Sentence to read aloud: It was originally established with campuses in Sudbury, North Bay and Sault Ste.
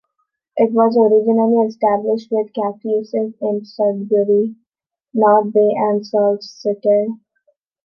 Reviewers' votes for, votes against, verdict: 2, 1, accepted